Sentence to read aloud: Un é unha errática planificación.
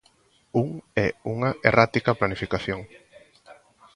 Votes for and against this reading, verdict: 1, 2, rejected